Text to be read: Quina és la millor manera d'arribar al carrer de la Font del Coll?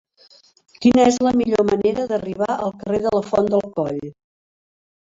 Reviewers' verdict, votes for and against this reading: rejected, 1, 2